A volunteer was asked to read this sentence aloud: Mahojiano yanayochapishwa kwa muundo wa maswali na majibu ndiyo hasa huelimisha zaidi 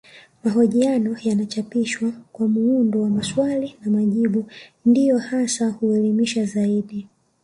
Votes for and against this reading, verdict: 1, 2, rejected